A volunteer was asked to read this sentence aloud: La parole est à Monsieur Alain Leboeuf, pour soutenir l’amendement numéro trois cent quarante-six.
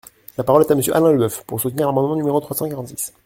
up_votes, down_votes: 0, 2